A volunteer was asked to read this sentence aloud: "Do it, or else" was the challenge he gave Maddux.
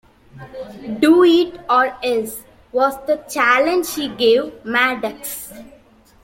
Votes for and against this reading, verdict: 2, 0, accepted